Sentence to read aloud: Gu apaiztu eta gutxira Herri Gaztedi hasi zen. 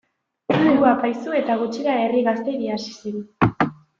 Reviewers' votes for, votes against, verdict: 1, 2, rejected